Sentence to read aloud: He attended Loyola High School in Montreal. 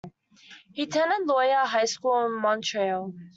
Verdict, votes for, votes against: rejected, 0, 2